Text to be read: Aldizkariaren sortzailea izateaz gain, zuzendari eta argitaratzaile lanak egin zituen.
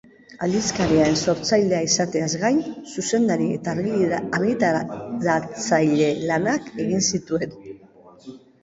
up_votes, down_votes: 1, 2